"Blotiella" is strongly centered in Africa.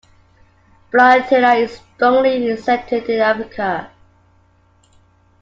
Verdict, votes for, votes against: rejected, 1, 2